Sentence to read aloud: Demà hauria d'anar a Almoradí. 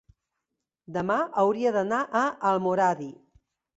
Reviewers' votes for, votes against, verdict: 4, 0, accepted